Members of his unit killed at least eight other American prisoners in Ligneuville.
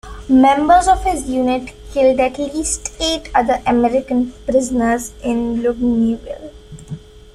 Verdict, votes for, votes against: rejected, 0, 2